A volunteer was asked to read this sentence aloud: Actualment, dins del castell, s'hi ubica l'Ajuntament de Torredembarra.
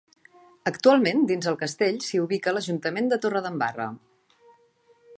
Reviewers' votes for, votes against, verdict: 2, 0, accepted